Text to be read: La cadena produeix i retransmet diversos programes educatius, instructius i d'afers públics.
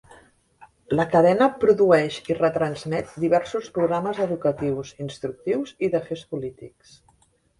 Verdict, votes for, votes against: rejected, 0, 3